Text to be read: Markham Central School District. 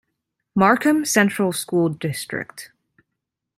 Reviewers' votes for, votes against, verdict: 2, 0, accepted